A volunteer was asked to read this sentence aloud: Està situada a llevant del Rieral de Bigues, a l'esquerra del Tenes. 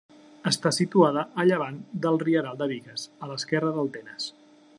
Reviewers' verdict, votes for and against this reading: accepted, 2, 0